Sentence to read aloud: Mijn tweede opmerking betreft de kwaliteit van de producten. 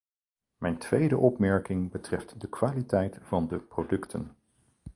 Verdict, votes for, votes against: accepted, 4, 0